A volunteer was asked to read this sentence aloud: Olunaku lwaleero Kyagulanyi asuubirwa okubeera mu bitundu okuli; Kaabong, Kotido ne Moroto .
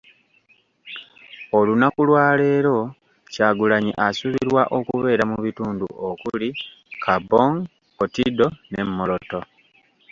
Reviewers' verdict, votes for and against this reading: accepted, 2, 0